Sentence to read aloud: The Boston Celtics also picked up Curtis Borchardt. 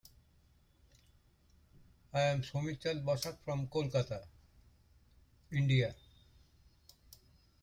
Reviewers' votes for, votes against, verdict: 0, 2, rejected